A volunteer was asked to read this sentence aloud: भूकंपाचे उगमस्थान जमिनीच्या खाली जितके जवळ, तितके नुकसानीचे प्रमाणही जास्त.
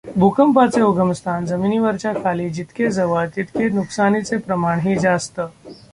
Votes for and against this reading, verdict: 1, 2, rejected